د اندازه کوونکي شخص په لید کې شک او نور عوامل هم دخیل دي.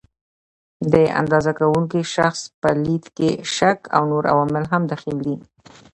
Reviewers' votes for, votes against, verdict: 2, 0, accepted